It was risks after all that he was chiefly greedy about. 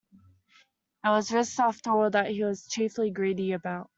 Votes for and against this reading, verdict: 0, 3, rejected